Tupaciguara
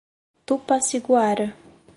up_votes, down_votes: 4, 0